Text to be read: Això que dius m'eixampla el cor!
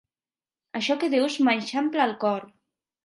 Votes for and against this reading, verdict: 2, 0, accepted